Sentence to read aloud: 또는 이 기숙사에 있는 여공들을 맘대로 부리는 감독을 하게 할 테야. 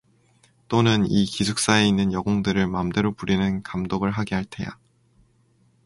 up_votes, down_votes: 4, 0